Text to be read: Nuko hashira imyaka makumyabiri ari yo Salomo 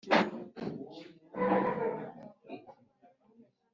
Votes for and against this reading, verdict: 1, 2, rejected